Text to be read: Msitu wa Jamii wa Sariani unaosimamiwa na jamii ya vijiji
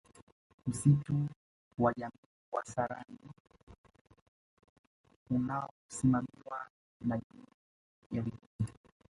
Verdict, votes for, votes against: rejected, 1, 2